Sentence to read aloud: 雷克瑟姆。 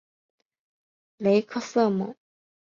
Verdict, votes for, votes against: accepted, 5, 0